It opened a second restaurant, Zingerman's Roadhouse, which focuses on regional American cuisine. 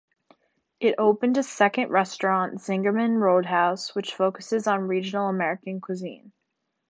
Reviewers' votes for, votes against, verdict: 0, 2, rejected